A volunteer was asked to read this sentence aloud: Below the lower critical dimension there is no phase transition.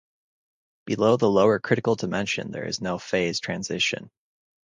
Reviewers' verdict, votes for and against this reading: accepted, 4, 0